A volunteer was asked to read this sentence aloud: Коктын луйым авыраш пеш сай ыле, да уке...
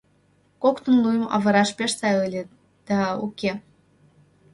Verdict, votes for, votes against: rejected, 1, 2